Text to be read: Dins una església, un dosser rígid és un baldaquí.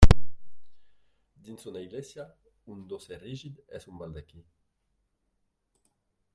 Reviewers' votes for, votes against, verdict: 0, 2, rejected